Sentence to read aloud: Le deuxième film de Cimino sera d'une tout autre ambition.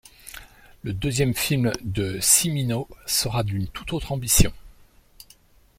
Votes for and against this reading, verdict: 2, 0, accepted